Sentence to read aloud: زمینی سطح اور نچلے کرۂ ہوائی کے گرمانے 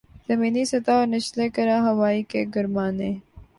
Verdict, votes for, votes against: accepted, 4, 0